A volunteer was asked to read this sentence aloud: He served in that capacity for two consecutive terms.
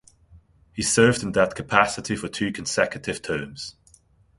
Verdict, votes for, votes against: accepted, 2, 0